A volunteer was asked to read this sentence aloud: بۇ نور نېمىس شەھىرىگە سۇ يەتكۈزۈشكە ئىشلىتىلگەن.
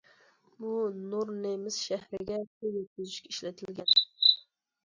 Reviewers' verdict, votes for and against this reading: rejected, 1, 2